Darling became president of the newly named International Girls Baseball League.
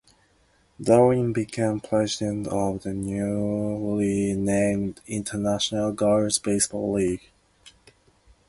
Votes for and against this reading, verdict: 2, 0, accepted